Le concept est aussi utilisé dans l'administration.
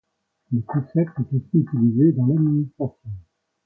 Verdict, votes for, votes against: rejected, 1, 2